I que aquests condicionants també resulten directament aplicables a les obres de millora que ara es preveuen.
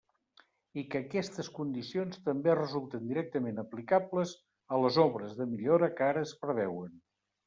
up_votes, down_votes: 0, 2